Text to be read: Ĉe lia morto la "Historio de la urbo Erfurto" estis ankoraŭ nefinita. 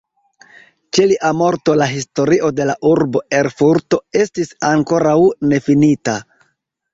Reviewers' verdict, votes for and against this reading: accepted, 2, 0